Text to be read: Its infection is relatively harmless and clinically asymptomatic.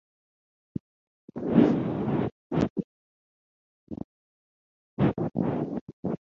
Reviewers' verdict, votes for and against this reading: rejected, 0, 6